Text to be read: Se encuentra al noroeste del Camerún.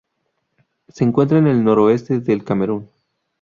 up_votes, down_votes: 2, 2